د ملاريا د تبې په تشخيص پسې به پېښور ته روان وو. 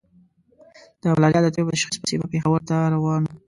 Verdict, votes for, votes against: rejected, 0, 2